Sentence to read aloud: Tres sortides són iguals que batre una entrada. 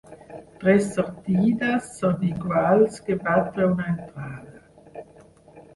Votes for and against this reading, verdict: 0, 4, rejected